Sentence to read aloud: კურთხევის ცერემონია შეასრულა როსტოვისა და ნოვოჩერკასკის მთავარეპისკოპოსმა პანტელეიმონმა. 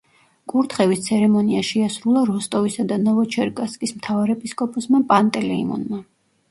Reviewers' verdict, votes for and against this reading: accepted, 2, 0